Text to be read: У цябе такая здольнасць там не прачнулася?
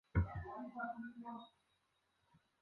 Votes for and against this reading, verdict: 0, 2, rejected